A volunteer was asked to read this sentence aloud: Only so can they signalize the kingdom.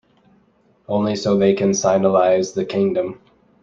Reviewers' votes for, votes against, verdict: 1, 2, rejected